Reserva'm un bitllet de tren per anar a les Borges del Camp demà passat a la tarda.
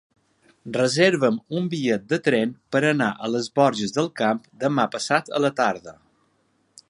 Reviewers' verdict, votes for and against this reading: accepted, 3, 0